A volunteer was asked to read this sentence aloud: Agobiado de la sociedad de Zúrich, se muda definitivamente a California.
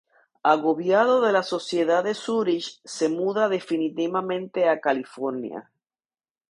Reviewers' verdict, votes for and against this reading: accepted, 2, 0